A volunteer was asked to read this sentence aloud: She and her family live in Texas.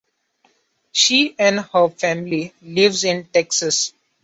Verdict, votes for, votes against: rejected, 1, 2